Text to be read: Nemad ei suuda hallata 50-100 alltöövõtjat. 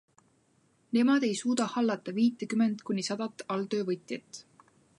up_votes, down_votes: 0, 2